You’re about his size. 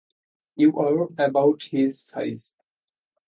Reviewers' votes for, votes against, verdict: 0, 2, rejected